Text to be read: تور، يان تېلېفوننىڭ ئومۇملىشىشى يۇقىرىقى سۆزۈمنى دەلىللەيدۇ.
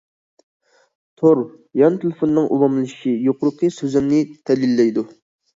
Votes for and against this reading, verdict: 2, 0, accepted